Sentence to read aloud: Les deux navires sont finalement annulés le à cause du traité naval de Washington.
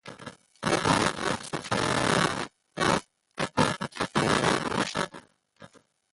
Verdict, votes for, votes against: rejected, 0, 2